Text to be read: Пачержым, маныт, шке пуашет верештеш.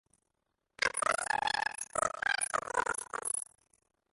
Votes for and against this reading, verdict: 0, 2, rejected